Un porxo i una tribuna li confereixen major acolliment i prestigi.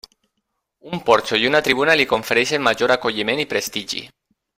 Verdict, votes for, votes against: rejected, 1, 2